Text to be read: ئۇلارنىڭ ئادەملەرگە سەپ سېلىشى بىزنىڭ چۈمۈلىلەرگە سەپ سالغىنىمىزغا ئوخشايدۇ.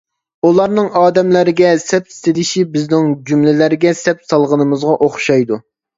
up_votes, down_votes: 0, 2